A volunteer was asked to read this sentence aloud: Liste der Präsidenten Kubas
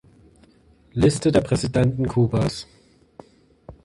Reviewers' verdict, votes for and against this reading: accepted, 2, 1